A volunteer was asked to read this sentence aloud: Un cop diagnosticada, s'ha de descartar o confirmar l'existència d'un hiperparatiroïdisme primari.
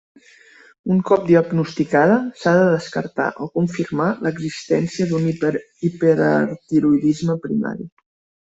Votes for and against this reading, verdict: 0, 2, rejected